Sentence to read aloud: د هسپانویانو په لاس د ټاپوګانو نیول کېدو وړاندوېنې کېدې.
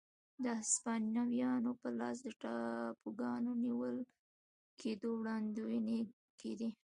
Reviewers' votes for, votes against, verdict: 2, 0, accepted